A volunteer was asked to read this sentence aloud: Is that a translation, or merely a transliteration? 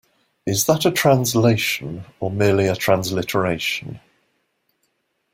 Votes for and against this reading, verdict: 2, 0, accepted